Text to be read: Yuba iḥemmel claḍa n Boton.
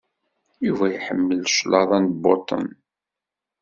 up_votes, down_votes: 2, 0